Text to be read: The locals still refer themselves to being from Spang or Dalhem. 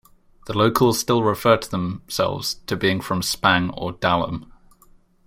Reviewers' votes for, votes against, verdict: 0, 2, rejected